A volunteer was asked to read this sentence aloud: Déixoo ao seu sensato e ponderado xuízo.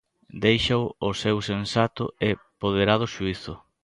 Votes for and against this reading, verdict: 0, 2, rejected